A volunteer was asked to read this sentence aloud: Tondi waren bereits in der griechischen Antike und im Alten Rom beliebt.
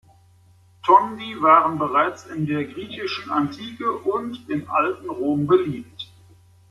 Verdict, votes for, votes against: accepted, 2, 0